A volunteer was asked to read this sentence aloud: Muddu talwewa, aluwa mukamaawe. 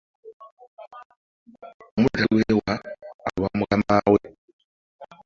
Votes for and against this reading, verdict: 1, 2, rejected